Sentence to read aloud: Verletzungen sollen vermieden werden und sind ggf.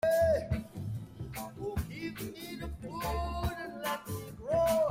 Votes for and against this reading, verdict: 0, 2, rejected